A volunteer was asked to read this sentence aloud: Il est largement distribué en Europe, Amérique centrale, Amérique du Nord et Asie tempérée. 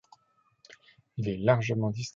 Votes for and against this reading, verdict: 0, 2, rejected